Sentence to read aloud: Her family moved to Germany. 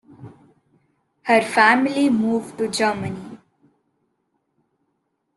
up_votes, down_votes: 2, 0